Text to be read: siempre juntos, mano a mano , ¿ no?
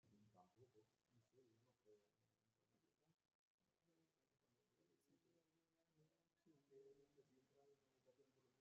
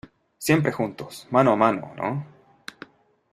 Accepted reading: second